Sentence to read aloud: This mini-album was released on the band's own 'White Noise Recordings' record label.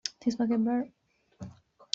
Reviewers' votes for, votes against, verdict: 0, 2, rejected